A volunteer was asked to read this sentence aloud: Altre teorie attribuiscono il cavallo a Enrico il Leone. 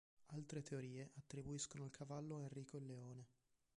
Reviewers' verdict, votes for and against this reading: rejected, 1, 2